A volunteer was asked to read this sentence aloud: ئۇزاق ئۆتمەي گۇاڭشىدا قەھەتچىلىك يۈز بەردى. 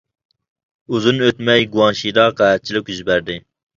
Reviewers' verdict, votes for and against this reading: rejected, 0, 2